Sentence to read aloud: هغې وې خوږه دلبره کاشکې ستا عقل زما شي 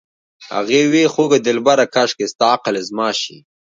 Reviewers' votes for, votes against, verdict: 2, 0, accepted